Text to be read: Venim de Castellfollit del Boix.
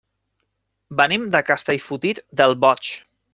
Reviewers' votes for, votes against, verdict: 0, 2, rejected